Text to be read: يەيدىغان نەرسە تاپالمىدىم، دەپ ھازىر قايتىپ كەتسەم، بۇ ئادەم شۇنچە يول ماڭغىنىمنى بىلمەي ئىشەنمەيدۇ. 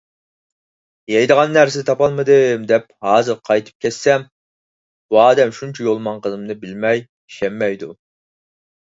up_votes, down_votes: 4, 0